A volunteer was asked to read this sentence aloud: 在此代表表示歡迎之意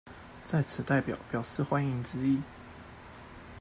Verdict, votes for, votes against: rejected, 0, 2